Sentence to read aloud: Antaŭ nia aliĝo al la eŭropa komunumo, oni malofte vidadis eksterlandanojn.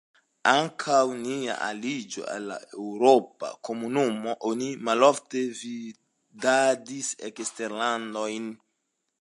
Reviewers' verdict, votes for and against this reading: rejected, 1, 2